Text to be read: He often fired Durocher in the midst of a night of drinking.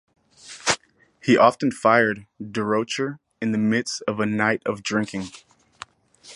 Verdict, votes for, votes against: accepted, 4, 0